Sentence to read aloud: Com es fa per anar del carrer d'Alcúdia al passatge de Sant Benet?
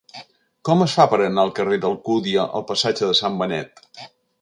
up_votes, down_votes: 1, 2